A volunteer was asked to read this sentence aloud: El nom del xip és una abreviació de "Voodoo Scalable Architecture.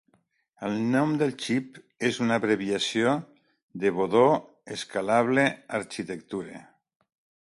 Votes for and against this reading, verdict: 0, 2, rejected